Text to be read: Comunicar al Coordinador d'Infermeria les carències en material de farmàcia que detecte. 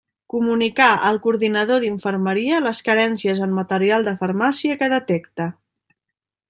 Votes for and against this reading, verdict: 2, 0, accepted